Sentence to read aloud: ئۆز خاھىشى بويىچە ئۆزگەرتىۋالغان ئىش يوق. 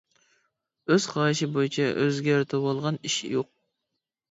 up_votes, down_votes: 2, 0